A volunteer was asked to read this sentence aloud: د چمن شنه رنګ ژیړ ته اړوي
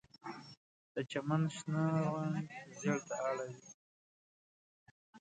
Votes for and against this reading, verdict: 2, 0, accepted